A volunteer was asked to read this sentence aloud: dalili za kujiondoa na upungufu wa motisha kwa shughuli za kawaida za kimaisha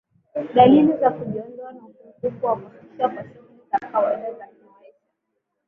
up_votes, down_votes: 0, 7